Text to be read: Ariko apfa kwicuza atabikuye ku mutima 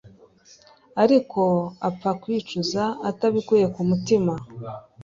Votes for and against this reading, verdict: 3, 0, accepted